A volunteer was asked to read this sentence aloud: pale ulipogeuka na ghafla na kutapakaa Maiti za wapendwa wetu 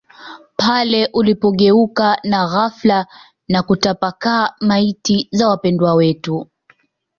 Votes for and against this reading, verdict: 2, 0, accepted